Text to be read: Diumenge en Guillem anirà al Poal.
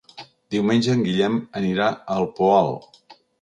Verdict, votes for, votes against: accepted, 2, 0